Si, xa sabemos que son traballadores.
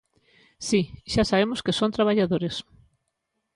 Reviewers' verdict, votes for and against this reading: accepted, 2, 0